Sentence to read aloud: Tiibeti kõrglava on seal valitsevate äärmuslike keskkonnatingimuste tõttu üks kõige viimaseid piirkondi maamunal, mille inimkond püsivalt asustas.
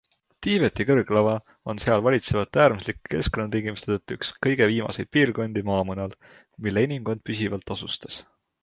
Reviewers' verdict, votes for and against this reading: accepted, 3, 0